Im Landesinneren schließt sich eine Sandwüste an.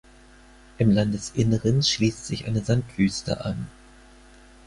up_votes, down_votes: 4, 0